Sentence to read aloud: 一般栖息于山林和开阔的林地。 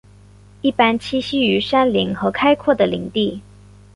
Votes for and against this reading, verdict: 2, 0, accepted